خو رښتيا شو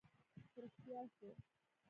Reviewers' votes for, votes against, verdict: 1, 2, rejected